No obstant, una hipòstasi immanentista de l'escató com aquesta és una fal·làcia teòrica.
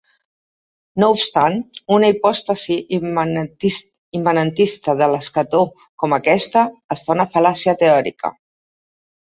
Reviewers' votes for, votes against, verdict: 0, 2, rejected